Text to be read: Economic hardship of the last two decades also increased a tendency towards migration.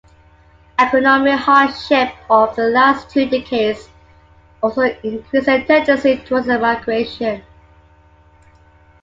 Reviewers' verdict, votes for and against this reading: rejected, 3, 4